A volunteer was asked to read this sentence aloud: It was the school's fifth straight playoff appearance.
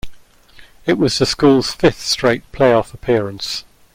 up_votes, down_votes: 2, 1